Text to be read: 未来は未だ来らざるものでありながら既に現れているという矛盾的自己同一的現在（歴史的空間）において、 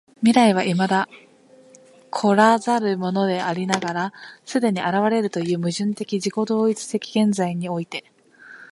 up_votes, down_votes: 1, 2